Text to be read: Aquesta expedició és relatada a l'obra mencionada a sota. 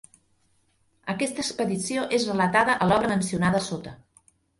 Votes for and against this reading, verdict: 0, 2, rejected